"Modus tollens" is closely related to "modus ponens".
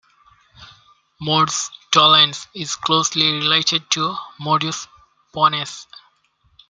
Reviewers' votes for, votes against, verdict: 2, 1, accepted